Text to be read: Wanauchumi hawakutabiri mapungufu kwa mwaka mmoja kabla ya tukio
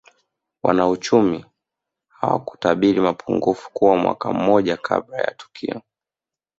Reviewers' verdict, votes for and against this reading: accepted, 3, 1